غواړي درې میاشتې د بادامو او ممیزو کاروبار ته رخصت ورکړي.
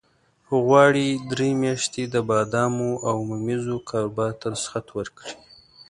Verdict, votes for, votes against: accepted, 2, 0